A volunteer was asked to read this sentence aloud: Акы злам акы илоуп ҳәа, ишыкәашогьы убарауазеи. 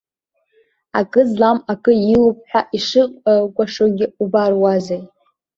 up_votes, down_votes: 1, 2